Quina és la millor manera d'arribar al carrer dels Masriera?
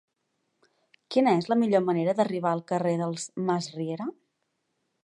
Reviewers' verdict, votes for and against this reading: accepted, 3, 0